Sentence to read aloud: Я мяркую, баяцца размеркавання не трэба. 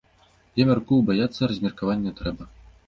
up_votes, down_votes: 1, 2